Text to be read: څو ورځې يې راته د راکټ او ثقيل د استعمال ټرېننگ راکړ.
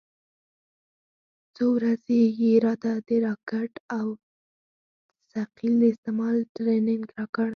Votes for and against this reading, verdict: 2, 4, rejected